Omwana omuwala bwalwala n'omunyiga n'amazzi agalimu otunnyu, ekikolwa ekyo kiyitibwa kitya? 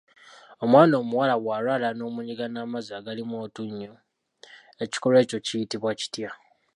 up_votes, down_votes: 2, 0